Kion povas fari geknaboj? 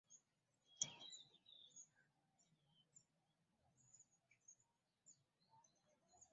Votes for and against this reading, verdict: 0, 2, rejected